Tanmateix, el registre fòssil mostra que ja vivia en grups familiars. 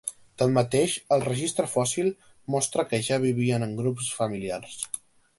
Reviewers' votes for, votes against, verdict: 0, 2, rejected